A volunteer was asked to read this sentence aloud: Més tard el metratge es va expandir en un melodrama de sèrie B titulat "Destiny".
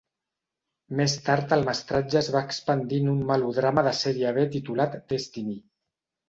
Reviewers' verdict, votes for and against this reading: rejected, 1, 2